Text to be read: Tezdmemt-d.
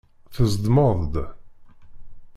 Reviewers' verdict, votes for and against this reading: rejected, 1, 2